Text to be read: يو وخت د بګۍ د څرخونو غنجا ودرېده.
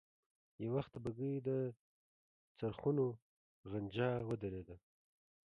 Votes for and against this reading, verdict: 0, 2, rejected